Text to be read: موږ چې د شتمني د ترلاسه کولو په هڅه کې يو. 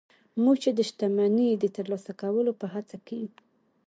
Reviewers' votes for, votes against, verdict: 2, 0, accepted